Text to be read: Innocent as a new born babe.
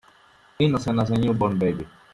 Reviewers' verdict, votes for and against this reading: rejected, 0, 2